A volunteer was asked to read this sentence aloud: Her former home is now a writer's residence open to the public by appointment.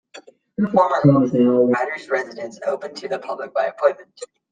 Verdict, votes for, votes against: rejected, 1, 2